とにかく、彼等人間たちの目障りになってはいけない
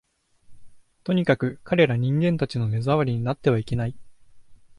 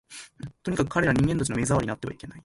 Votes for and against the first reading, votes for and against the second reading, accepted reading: 2, 0, 1, 2, first